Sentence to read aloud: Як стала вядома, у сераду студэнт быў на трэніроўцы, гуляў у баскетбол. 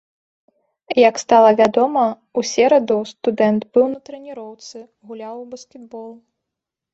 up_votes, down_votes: 1, 2